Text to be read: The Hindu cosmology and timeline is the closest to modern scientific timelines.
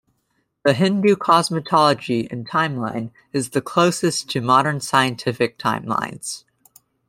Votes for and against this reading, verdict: 2, 1, accepted